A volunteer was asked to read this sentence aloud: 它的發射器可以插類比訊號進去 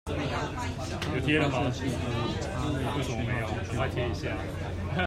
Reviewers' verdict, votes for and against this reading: rejected, 0, 2